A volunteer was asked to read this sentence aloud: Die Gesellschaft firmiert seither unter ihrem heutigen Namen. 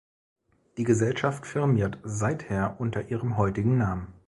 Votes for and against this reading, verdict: 3, 0, accepted